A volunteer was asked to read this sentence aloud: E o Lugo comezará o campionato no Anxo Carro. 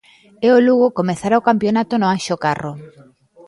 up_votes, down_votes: 0, 2